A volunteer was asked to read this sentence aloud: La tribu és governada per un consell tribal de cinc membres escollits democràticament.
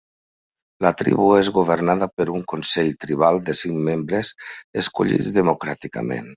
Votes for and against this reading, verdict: 3, 0, accepted